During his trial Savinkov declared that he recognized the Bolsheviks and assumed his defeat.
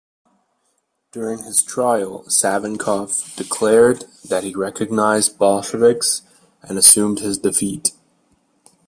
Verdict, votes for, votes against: rejected, 1, 2